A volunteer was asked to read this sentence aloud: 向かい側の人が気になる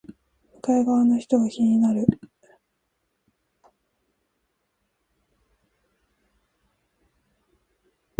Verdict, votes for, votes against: rejected, 1, 2